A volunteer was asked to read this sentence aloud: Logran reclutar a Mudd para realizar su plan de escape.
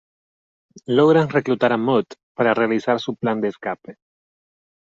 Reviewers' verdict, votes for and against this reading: accepted, 2, 0